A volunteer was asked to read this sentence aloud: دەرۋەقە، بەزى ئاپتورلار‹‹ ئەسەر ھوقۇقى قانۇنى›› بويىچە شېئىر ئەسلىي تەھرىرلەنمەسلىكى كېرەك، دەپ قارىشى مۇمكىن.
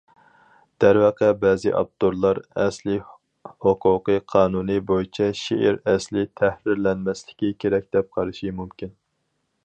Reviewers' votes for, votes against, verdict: 2, 2, rejected